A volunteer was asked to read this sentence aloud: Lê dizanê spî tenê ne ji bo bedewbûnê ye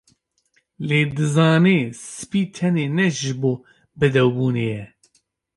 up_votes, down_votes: 2, 0